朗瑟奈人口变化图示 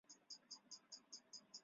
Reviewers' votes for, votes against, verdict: 0, 2, rejected